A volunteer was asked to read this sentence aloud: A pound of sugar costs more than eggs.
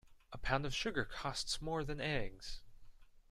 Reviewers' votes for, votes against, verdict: 2, 0, accepted